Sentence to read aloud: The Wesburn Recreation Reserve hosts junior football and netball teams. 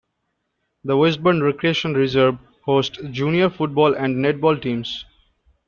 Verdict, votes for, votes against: rejected, 1, 2